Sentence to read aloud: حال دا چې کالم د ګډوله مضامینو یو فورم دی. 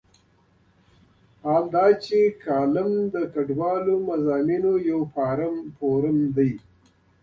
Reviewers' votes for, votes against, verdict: 2, 1, accepted